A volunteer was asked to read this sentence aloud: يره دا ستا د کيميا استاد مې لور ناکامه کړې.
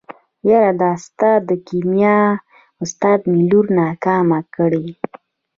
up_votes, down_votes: 1, 2